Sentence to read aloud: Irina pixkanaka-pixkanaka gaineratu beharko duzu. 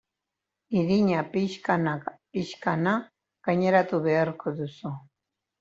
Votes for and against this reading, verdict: 0, 2, rejected